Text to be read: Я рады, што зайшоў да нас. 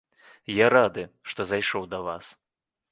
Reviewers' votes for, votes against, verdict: 1, 2, rejected